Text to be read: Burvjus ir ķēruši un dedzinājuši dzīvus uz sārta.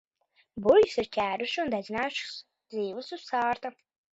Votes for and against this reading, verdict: 0, 2, rejected